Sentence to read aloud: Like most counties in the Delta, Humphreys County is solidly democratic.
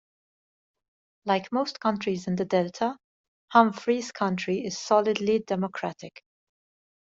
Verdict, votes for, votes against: rejected, 0, 2